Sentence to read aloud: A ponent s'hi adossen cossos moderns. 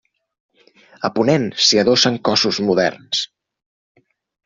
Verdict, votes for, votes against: accepted, 3, 0